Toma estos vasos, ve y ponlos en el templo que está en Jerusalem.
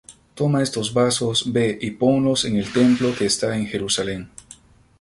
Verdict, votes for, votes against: accepted, 2, 0